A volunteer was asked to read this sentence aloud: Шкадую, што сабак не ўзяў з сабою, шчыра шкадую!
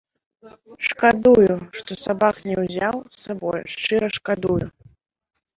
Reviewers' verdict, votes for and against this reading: rejected, 0, 2